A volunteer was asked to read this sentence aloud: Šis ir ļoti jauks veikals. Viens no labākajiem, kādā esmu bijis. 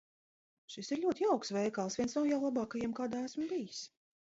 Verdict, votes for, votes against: rejected, 1, 2